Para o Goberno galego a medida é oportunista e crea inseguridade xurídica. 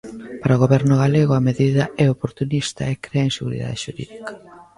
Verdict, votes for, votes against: rejected, 0, 2